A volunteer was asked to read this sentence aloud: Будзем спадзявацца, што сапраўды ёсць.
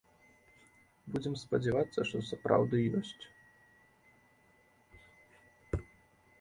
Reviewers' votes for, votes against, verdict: 1, 2, rejected